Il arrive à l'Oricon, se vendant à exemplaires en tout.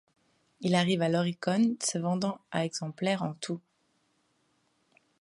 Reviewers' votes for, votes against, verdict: 2, 0, accepted